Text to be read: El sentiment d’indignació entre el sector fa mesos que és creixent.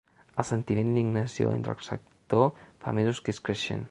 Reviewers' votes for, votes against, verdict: 1, 2, rejected